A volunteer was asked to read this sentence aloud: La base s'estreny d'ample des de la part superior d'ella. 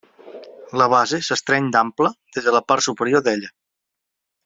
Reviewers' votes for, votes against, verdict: 2, 1, accepted